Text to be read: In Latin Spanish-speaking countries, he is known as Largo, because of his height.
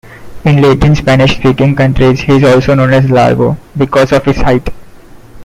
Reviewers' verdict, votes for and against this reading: accepted, 2, 1